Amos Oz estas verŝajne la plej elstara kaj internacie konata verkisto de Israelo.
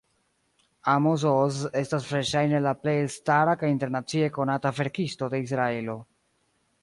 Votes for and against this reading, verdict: 2, 0, accepted